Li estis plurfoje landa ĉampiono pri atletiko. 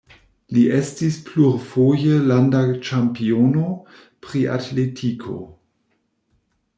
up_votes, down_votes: 2, 0